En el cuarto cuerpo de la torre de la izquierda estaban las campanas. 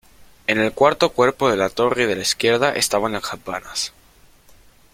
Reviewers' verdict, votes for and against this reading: accepted, 2, 1